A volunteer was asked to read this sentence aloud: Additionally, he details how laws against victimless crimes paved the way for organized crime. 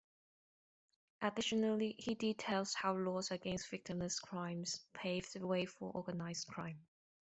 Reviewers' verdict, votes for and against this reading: accepted, 2, 0